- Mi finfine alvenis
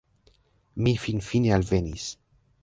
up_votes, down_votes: 1, 2